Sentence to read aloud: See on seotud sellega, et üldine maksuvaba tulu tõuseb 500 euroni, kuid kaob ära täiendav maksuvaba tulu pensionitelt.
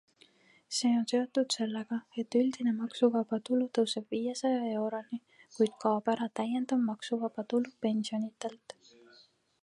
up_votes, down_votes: 0, 2